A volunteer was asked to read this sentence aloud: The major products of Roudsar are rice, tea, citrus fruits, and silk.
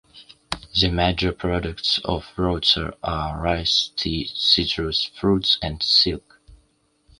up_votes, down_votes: 2, 0